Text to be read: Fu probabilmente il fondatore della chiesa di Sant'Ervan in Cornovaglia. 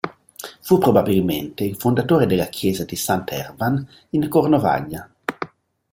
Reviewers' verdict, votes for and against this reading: accepted, 2, 0